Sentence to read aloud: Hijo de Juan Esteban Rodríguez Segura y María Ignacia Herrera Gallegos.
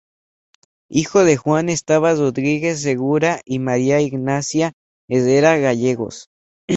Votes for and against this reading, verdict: 4, 2, accepted